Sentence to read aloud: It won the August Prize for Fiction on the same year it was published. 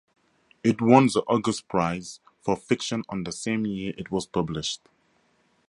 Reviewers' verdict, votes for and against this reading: accepted, 4, 0